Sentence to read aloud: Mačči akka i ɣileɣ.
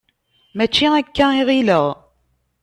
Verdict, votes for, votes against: accepted, 2, 0